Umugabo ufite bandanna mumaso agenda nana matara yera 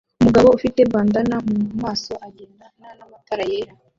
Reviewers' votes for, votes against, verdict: 0, 2, rejected